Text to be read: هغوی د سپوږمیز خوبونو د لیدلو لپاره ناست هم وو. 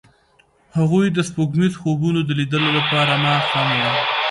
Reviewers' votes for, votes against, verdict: 1, 2, rejected